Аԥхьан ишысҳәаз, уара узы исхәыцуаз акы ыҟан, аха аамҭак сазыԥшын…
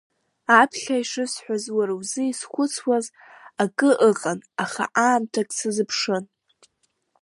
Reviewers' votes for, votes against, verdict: 0, 2, rejected